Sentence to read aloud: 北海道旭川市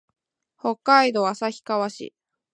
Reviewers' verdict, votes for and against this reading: accepted, 2, 0